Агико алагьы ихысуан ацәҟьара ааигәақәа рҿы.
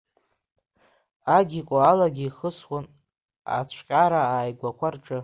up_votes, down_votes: 0, 2